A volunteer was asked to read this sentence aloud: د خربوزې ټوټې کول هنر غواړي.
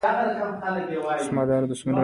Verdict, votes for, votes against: accepted, 2, 0